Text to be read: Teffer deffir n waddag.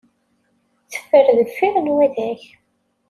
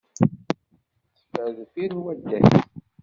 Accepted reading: first